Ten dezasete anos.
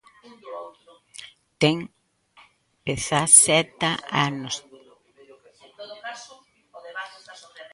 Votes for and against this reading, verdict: 0, 2, rejected